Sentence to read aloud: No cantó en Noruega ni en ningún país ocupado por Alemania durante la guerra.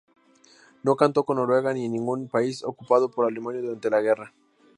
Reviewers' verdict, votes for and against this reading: accepted, 2, 0